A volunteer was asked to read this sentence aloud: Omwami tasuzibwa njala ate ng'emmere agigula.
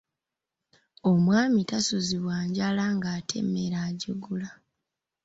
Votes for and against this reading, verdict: 1, 2, rejected